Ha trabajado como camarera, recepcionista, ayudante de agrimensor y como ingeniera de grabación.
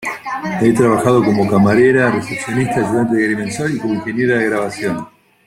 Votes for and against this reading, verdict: 0, 2, rejected